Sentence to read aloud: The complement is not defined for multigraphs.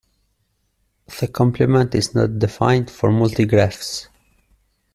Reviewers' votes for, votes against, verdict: 2, 0, accepted